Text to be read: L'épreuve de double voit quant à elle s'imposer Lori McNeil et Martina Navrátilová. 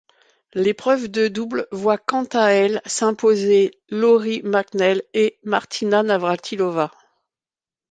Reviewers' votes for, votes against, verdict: 3, 1, accepted